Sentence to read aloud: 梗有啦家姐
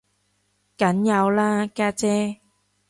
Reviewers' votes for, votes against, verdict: 2, 0, accepted